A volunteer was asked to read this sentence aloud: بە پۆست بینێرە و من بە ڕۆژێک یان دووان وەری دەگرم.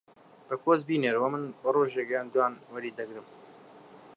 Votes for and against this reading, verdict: 2, 0, accepted